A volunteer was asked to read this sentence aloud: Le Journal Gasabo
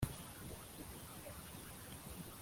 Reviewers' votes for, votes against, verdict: 0, 2, rejected